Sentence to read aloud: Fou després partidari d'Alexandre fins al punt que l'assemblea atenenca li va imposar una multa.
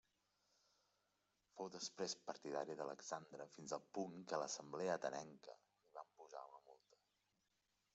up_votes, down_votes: 1, 2